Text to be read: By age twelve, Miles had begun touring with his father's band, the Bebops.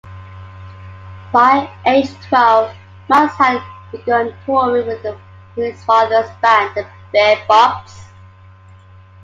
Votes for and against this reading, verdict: 2, 1, accepted